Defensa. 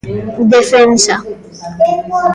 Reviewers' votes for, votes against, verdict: 0, 2, rejected